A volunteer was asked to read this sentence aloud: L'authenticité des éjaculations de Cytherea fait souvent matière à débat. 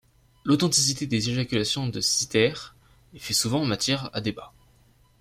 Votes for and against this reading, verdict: 2, 1, accepted